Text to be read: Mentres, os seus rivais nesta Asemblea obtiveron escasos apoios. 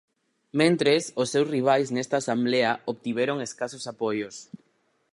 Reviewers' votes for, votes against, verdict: 0, 6, rejected